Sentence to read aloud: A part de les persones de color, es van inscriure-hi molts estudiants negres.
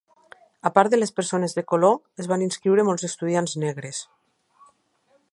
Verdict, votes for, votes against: rejected, 1, 2